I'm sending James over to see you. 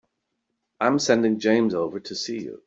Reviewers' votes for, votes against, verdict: 4, 0, accepted